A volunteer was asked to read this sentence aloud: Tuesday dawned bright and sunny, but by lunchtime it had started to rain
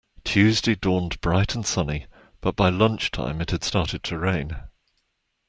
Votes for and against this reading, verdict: 2, 0, accepted